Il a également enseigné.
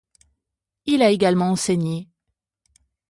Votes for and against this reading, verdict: 0, 2, rejected